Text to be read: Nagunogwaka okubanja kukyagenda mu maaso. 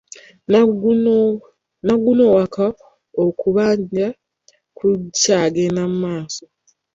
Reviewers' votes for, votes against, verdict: 0, 2, rejected